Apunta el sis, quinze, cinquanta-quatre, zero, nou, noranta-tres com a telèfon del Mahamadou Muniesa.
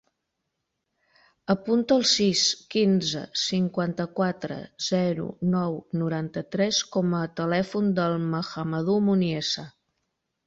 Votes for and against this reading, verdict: 2, 0, accepted